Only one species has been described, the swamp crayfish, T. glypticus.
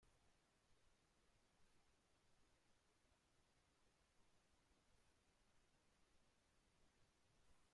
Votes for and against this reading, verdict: 0, 2, rejected